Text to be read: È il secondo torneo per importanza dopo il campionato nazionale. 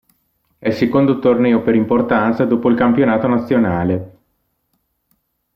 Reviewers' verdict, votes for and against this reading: accepted, 2, 0